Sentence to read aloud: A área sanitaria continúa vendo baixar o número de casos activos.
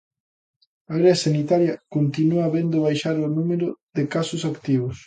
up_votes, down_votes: 2, 1